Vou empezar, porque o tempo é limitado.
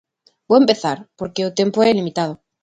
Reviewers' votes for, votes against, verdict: 2, 0, accepted